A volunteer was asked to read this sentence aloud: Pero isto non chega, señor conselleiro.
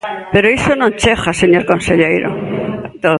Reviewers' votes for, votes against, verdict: 0, 2, rejected